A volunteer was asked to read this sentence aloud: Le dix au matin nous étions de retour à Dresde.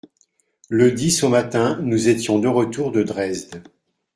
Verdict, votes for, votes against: rejected, 0, 2